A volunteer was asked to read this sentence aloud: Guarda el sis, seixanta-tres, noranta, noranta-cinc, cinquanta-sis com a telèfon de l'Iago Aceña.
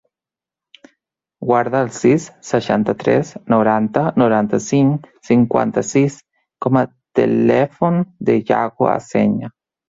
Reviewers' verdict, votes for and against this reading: rejected, 1, 2